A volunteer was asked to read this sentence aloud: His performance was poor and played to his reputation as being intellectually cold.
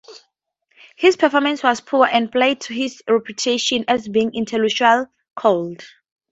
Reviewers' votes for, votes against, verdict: 0, 4, rejected